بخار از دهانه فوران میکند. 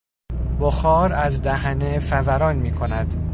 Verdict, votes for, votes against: rejected, 1, 2